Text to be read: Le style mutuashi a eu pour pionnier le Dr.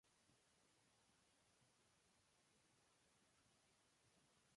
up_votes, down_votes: 0, 2